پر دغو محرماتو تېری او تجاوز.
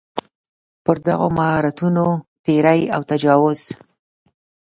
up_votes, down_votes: 1, 2